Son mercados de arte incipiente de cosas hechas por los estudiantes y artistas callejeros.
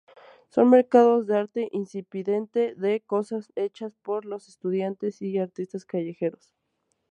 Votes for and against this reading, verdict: 0, 2, rejected